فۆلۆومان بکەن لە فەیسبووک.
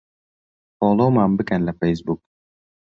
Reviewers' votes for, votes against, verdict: 2, 0, accepted